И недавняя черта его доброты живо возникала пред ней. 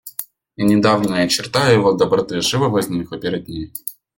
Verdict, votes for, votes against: rejected, 0, 2